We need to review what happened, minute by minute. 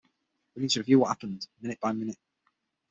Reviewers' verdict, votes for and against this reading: rejected, 3, 6